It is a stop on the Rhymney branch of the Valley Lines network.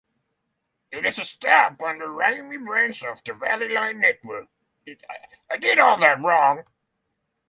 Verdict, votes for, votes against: rejected, 0, 9